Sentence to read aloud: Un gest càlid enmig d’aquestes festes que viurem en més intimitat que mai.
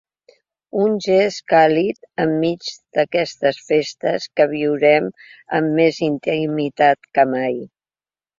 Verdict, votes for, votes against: rejected, 1, 2